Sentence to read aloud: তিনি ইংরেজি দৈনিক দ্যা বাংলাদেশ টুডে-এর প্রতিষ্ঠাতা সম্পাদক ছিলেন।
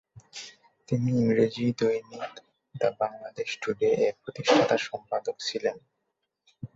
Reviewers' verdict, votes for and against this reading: accepted, 8, 2